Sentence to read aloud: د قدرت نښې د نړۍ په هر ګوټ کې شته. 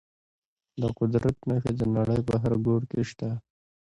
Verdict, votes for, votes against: accepted, 2, 0